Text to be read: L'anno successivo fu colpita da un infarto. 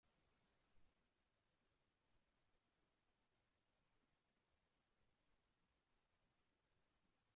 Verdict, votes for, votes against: rejected, 0, 2